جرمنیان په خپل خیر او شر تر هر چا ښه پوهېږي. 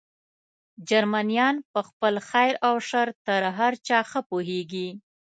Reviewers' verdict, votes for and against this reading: accepted, 2, 0